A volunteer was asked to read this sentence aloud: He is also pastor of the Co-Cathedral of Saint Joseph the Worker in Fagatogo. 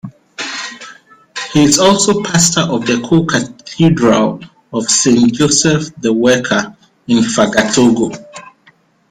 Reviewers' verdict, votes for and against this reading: accepted, 2, 1